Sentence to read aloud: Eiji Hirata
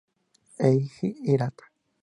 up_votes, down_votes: 4, 0